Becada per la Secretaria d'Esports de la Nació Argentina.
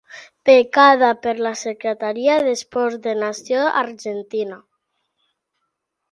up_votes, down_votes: 0, 2